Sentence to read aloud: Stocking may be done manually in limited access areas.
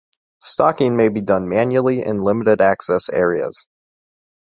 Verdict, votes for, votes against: accepted, 2, 0